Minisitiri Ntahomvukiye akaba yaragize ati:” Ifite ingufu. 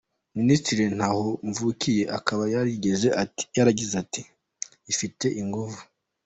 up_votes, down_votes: 2, 1